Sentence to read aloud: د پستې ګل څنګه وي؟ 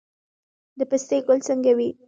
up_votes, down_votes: 2, 0